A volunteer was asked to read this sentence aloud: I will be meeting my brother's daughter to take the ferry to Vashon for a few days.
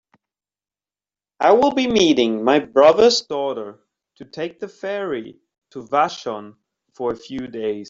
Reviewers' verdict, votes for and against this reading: accepted, 2, 1